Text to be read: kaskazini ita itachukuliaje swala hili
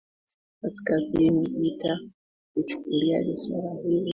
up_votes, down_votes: 0, 2